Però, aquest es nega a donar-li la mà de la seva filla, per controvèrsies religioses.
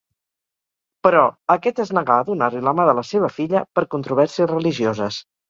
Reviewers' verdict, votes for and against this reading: accepted, 4, 0